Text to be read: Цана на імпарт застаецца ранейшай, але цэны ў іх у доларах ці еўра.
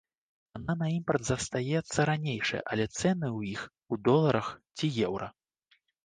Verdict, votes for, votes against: rejected, 0, 2